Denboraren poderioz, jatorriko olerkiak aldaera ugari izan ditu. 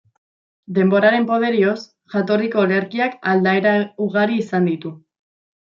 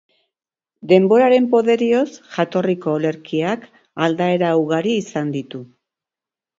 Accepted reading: second